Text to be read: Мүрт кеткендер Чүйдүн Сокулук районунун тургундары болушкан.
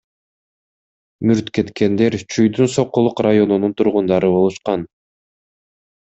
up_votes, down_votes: 2, 0